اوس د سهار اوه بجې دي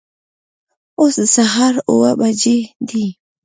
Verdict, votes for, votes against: accepted, 2, 1